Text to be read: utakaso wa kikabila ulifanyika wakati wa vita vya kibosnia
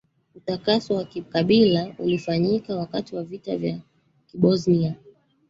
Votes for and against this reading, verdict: 1, 2, rejected